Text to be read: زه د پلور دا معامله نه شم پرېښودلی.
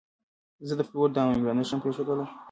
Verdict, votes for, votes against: rejected, 0, 2